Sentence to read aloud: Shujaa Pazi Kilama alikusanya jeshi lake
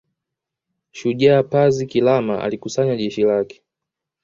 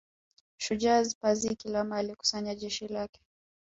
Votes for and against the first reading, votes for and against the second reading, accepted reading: 0, 2, 2, 0, second